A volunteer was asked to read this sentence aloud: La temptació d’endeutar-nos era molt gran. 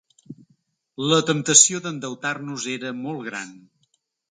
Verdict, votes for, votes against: accepted, 3, 0